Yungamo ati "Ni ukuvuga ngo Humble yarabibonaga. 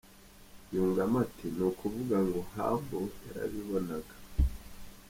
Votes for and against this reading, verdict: 1, 3, rejected